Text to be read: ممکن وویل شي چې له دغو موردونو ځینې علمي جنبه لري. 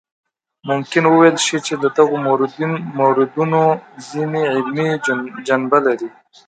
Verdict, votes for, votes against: rejected, 0, 2